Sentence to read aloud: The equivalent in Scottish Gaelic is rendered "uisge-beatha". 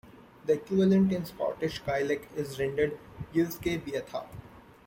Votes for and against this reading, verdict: 1, 2, rejected